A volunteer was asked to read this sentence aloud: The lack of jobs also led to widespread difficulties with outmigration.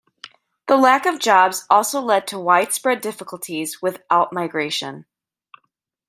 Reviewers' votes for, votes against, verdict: 2, 0, accepted